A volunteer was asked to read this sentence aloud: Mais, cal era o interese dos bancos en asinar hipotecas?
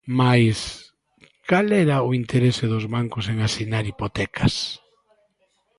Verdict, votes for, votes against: accepted, 2, 0